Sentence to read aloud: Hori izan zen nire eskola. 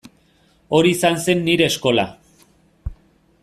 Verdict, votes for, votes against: accepted, 2, 0